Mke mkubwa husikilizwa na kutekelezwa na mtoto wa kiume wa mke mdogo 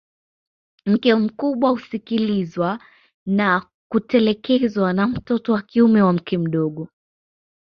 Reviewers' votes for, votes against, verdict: 0, 2, rejected